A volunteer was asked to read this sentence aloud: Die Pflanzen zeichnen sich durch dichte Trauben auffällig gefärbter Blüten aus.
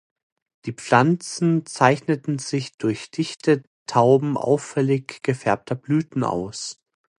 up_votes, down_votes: 0, 2